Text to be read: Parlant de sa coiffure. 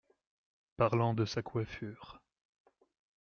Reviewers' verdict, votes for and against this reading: accepted, 2, 0